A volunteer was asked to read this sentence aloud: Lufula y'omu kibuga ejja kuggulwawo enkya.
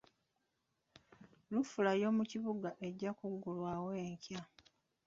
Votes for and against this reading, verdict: 0, 2, rejected